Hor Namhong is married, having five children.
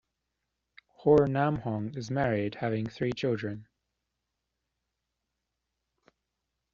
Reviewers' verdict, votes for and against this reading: rejected, 0, 2